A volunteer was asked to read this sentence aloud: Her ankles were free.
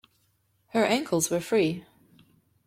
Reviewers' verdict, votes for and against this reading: accepted, 2, 0